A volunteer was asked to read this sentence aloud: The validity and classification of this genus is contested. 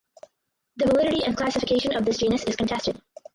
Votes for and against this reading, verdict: 0, 4, rejected